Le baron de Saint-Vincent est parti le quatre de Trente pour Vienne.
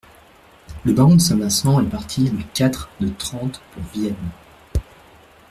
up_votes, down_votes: 2, 1